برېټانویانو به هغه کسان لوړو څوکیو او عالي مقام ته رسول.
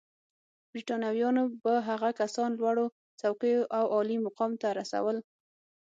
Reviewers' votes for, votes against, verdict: 0, 6, rejected